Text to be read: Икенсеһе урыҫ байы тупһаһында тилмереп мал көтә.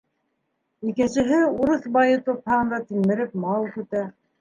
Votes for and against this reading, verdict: 3, 2, accepted